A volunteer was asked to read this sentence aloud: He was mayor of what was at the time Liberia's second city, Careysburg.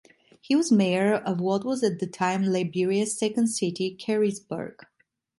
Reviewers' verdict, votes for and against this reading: accepted, 2, 0